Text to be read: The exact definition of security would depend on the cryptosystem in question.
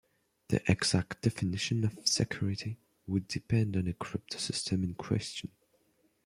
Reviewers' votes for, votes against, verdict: 2, 0, accepted